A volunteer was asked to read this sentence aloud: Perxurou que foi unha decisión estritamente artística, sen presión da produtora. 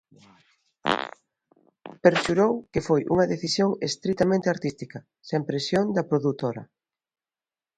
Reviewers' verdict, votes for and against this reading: rejected, 1, 2